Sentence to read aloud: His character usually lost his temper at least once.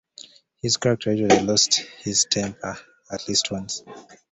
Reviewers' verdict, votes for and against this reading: rejected, 1, 2